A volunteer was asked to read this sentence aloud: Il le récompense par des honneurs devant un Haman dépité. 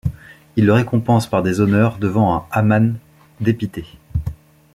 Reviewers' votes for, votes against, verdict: 2, 0, accepted